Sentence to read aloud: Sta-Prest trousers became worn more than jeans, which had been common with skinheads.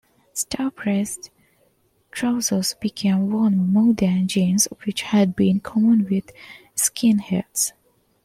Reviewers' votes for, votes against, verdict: 1, 2, rejected